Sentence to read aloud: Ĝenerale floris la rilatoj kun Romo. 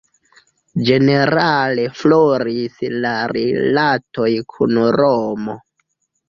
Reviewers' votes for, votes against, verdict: 1, 2, rejected